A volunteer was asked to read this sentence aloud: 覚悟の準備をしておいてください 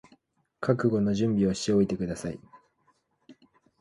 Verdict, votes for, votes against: accepted, 2, 0